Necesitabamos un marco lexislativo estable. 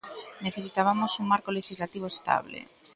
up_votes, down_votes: 2, 0